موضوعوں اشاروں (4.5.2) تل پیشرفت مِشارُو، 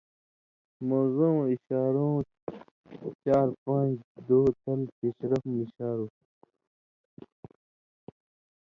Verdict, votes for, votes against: rejected, 0, 2